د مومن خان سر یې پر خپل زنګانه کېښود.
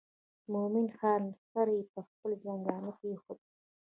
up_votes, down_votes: 0, 2